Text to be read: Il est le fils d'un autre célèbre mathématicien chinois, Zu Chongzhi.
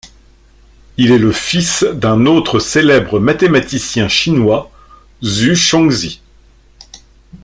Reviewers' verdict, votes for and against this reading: accepted, 2, 0